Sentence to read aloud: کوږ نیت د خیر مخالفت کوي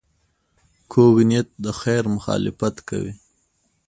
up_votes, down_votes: 2, 0